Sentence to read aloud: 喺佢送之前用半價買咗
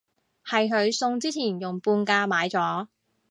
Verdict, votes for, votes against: rejected, 1, 2